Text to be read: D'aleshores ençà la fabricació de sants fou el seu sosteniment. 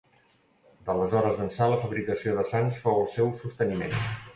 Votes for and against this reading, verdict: 2, 0, accepted